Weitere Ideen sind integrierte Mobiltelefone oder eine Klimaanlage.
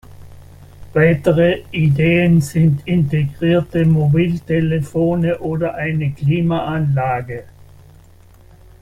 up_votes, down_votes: 1, 2